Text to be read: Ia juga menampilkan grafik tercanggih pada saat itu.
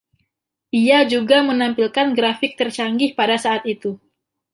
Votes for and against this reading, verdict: 1, 2, rejected